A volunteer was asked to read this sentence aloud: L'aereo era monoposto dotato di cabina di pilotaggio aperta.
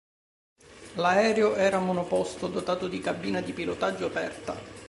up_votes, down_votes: 3, 0